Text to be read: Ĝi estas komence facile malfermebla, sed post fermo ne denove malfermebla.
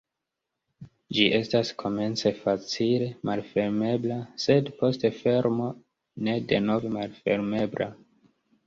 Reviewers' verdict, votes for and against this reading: rejected, 1, 2